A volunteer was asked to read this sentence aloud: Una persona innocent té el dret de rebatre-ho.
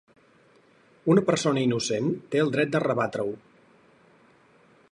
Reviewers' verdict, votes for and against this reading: accepted, 4, 0